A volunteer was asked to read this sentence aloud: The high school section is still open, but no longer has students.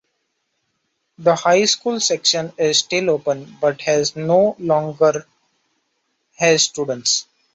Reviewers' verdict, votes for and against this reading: rejected, 0, 2